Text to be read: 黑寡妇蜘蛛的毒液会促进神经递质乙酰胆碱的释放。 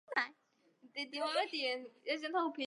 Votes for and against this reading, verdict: 0, 2, rejected